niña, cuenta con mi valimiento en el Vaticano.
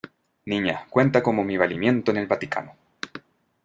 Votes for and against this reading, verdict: 0, 2, rejected